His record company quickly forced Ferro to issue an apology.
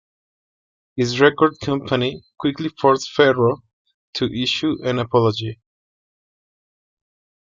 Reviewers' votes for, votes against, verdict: 2, 0, accepted